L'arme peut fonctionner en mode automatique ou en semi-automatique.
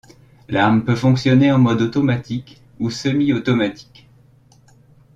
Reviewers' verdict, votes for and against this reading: rejected, 1, 2